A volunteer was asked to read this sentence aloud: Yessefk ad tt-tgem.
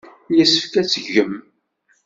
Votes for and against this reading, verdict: 1, 2, rejected